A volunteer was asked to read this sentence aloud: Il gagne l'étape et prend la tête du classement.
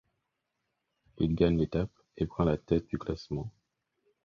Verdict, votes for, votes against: accepted, 4, 0